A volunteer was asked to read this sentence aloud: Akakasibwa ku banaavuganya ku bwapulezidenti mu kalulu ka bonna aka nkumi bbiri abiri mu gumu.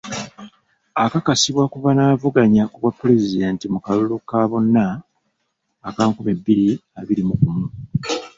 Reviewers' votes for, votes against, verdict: 1, 2, rejected